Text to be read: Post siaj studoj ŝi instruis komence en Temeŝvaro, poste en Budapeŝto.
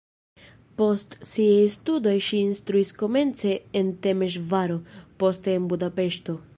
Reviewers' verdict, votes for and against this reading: rejected, 1, 2